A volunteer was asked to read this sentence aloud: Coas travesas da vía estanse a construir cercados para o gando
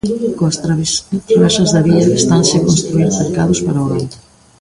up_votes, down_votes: 0, 3